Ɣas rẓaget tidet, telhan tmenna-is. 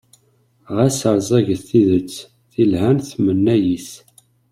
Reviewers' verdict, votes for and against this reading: rejected, 1, 2